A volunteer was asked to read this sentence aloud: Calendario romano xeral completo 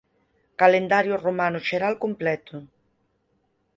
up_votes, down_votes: 4, 0